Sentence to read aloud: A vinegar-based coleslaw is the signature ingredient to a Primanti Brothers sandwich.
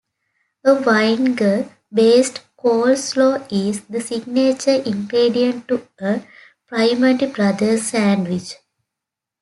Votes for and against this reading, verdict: 0, 2, rejected